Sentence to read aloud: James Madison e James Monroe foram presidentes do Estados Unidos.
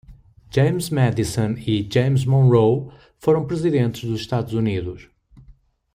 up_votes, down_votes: 2, 1